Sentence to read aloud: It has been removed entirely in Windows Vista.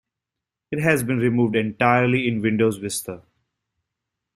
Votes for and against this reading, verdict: 2, 1, accepted